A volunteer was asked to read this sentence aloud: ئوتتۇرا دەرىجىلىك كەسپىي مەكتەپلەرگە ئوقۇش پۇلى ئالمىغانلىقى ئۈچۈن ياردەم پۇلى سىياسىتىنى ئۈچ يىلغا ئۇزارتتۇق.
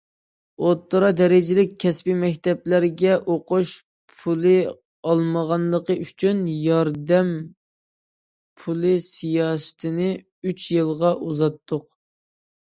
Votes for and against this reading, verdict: 2, 0, accepted